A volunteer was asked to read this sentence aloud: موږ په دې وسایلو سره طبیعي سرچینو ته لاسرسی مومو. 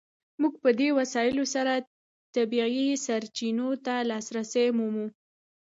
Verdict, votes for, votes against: accepted, 2, 0